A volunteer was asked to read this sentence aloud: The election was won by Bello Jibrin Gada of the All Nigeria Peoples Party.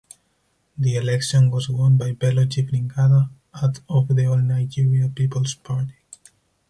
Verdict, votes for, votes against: rejected, 0, 4